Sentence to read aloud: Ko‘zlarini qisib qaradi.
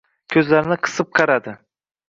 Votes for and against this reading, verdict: 2, 0, accepted